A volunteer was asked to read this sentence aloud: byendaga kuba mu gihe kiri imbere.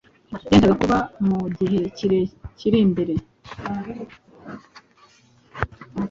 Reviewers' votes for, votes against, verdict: 2, 0, accepted